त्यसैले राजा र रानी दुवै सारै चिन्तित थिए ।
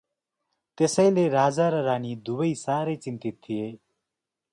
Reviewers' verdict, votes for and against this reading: accepted, 2, 0